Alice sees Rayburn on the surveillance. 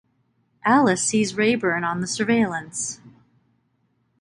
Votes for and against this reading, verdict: 2, 0, accepted